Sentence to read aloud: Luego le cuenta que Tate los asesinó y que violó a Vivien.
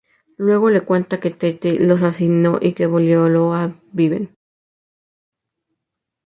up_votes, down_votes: 0, 2